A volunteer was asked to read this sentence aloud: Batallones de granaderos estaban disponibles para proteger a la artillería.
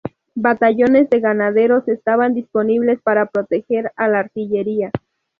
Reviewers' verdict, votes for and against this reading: rejected, 0, 2